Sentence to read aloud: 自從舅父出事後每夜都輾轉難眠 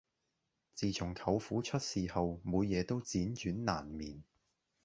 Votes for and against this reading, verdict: 0, 2, rejected